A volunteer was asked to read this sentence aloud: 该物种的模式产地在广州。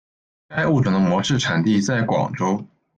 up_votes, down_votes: 0, 2